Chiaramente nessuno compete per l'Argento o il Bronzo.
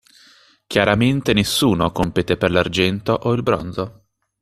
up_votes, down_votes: 2, 0